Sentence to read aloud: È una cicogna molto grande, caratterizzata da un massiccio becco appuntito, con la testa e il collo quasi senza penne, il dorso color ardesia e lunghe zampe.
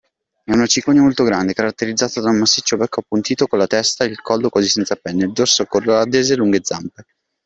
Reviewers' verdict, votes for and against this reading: accepted, 2, 1